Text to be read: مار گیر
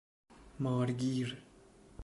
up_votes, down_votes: 2, 0